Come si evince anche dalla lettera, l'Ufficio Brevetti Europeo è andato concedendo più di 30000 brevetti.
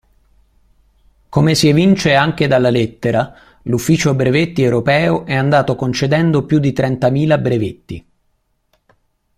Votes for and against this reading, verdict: 0, 2, rejected